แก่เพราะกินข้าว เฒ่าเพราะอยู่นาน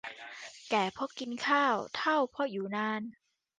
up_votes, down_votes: 2, 0